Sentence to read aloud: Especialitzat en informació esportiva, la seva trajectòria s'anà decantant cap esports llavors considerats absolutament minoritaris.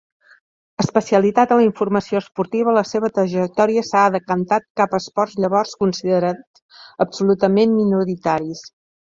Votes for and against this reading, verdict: 0, 2, rejected